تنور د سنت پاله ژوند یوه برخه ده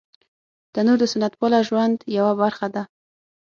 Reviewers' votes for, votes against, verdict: 6, 0, accepted